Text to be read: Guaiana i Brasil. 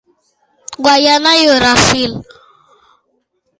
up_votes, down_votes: 2, 1